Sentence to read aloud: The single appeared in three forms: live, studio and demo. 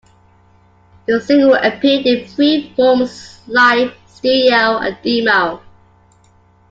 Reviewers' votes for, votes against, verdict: 0, 3, rejected